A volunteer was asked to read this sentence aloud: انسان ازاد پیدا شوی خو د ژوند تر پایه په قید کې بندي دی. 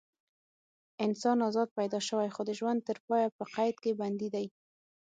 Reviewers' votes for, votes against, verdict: 6, 0, accepted